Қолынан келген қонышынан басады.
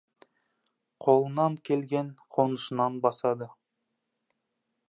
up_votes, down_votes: 2, 0